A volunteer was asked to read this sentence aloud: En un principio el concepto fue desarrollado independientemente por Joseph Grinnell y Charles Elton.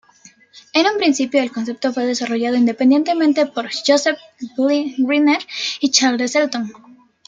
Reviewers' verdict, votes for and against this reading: rejected, 0, 2